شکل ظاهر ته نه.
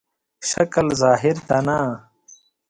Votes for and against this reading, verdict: 2, 0, accepted